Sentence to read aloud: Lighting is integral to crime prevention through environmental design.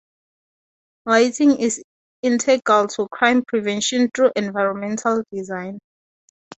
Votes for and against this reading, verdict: 2, 0, accepted